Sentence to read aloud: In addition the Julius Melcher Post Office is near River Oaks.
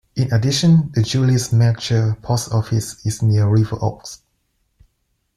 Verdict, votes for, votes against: accepted, 2, 0